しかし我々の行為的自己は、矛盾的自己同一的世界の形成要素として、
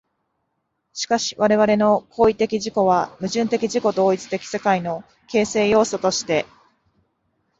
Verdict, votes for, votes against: accepted, 2, 1